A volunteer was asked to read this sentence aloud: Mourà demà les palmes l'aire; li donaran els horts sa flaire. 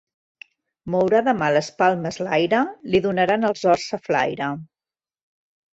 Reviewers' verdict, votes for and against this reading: accepted, 2, 1